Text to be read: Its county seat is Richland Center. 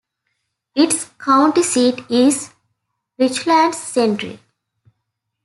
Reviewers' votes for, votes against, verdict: 0, 2, rejected